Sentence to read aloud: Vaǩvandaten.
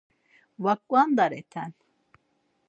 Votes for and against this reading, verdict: 0, 4, rejected